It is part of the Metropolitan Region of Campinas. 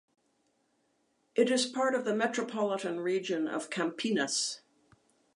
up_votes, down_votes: 2, 0